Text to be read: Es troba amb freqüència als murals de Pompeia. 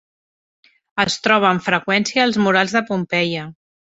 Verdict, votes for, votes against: accepted, 3, 1